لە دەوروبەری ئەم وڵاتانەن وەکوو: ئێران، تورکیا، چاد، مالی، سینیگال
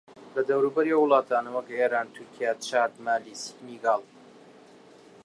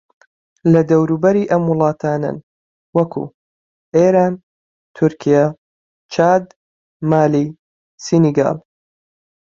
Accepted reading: second